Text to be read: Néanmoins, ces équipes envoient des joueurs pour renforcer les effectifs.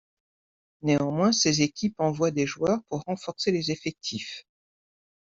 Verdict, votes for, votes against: accepted, 2, 0